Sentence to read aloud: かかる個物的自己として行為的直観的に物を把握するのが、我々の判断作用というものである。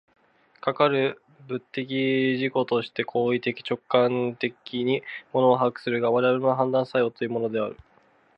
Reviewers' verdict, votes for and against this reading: accepted, 2, 0